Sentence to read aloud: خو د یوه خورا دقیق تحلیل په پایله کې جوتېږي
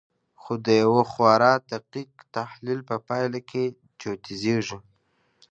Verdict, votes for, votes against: accepted, 2, 0